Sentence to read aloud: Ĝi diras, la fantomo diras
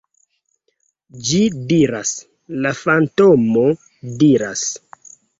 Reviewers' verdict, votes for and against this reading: accepted, 2, 0